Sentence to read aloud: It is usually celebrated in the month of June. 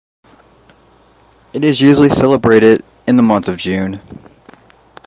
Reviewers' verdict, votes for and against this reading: accepted, 2, 0